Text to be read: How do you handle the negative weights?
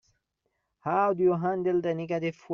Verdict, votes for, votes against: rejected, 0, 3